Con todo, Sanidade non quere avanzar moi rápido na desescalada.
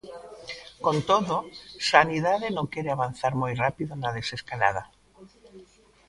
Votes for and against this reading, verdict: 2, 0, accepted